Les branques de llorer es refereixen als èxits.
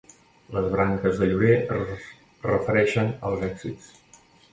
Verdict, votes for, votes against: rejected, 1, 2